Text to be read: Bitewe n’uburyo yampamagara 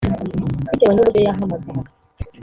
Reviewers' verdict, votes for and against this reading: rejected, 0, 2